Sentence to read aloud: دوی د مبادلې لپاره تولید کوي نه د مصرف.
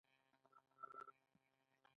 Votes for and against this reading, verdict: 1, 2, rejected